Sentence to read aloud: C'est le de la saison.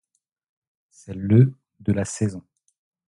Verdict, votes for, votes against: rejected, 0, 2